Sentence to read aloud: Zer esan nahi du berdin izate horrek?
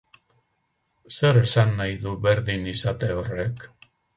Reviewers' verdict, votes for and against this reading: accepted, 10, 0